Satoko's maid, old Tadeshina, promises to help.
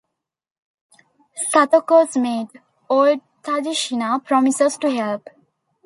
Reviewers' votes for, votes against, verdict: 1, 2, rejected